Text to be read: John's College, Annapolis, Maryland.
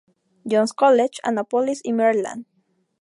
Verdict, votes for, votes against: accepted, 2, 0